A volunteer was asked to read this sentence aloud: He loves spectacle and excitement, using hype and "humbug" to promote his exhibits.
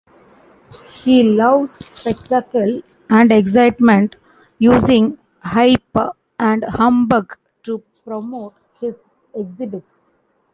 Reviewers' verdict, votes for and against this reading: accepted, 2, 0